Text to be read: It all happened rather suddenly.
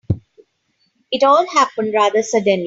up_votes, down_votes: 0, 2